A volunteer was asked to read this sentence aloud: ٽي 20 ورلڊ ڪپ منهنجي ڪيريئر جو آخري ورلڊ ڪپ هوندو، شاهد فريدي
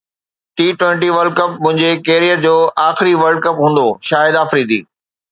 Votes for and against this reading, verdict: 0, 2, rejected